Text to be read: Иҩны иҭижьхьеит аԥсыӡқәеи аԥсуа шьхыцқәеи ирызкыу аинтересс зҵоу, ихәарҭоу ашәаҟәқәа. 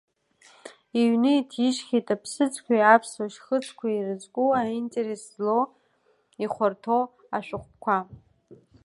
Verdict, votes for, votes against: rejected, 1, 2